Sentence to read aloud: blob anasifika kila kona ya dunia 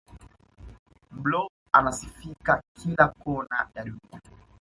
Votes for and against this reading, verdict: 2, 0, accepted